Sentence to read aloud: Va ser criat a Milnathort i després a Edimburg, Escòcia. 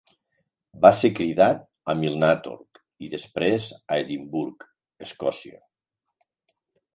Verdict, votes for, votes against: rejected, 0, 2